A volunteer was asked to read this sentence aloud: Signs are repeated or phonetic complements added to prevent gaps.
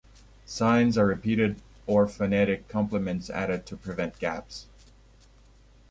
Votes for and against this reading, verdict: 2, 0, accepted